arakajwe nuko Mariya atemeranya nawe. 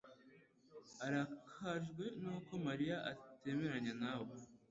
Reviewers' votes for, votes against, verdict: 2, 0, accepted